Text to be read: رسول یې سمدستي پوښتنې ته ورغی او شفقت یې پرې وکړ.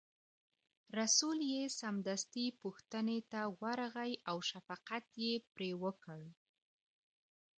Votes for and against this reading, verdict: 0, 2, rejected